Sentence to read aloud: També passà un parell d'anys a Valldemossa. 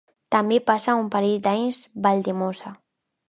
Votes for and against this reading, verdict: 0, 2, rejected